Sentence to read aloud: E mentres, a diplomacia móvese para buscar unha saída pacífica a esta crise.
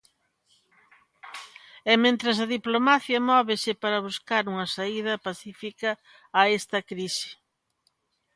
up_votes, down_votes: 2, 1